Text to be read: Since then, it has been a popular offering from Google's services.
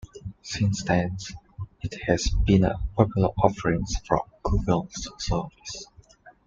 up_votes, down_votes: 0, 2